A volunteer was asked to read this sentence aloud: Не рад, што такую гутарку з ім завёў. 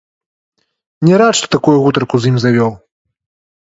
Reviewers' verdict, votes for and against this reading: rejected, 1, 2